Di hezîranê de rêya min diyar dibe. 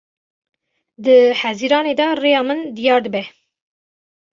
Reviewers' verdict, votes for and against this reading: accepted, 2, 0